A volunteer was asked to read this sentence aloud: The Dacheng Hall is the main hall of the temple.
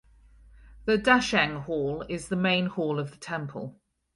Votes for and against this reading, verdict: 4, 0, accepted